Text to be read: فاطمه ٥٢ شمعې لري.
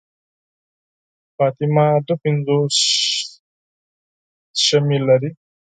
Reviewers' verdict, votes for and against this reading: rejected, 0, 2